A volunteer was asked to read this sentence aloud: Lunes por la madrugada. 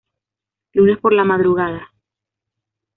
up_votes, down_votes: 2, 1